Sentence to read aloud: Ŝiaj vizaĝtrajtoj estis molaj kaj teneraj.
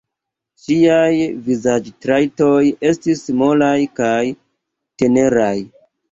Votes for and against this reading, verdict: 0, 2, rejected